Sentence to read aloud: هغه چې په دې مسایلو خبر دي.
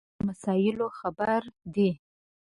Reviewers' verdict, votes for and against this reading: rejected, 0, 2